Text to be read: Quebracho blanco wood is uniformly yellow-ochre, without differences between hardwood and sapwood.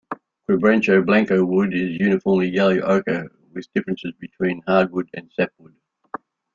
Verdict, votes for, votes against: rejected, 1, 2